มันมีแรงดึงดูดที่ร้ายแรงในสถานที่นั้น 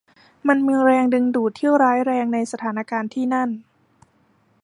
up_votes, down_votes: 1, 2